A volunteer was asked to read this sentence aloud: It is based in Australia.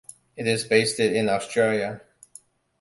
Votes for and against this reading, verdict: 2, 1, accepted